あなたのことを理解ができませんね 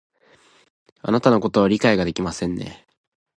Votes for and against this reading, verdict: 2, 0, accepted